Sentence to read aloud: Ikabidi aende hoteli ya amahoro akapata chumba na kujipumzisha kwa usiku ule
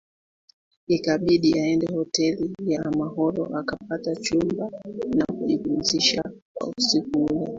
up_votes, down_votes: 1, 2